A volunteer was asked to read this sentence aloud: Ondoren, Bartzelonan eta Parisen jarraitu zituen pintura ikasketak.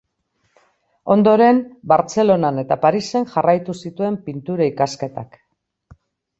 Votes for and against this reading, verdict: 2, 0, accepted